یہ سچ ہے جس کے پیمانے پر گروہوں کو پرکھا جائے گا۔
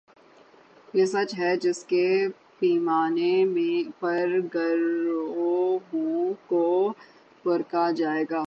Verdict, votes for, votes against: rejected, 3, 9